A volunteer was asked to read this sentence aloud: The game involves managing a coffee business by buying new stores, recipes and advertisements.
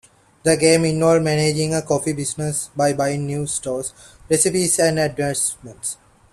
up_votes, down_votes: 1, 2